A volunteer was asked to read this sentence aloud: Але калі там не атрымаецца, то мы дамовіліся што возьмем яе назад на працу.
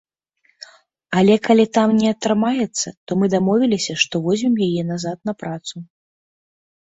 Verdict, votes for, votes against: accepted, 2, 0